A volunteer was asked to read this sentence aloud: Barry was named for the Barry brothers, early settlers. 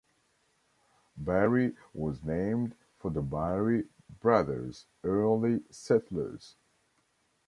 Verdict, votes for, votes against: accepted, 2, 1